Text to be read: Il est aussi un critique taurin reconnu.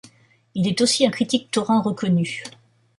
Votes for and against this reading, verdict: 2, 1, accepted